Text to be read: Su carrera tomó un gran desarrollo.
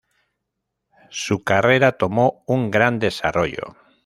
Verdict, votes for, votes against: rejected, 1, 2